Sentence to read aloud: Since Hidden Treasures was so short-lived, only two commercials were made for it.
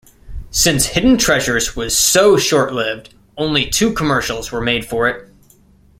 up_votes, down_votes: 1, 2